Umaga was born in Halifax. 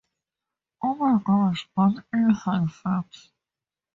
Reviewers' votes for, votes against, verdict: 2, 2, rejected